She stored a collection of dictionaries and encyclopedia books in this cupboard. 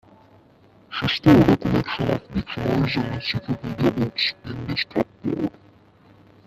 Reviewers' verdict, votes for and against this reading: rejected, 0, 2